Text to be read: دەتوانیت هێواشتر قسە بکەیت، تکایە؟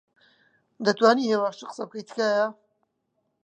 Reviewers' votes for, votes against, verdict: 2, 1, accepted